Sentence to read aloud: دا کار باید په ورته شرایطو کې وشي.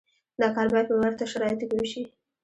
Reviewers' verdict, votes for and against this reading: accepted, 2, 0